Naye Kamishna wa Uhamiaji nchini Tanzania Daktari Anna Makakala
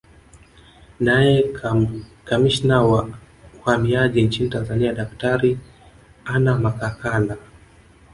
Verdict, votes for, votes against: rejected, 1, 2